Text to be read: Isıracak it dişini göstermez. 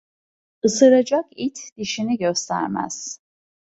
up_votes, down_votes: 2, 0